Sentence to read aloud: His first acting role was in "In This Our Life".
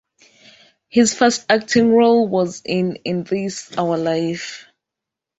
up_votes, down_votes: 2, 0